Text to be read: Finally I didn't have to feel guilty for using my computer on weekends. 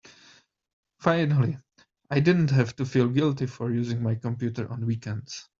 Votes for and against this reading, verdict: 2, 1, accepted